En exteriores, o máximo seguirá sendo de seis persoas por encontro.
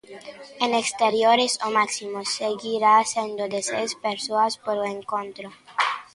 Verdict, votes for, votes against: accepted, 2, 0